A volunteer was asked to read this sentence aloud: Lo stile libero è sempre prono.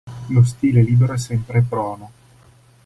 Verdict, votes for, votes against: accepted, 2, 0